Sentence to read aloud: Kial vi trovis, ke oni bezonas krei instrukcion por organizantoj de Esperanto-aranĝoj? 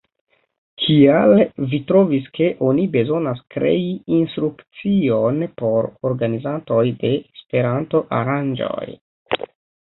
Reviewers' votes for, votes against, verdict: 1, 2, rejected